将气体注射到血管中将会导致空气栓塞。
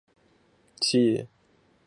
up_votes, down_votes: 2, 0